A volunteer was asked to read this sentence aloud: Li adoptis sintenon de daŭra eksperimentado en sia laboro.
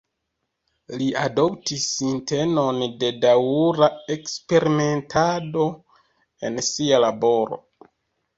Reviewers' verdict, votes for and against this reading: accepted, 2, 0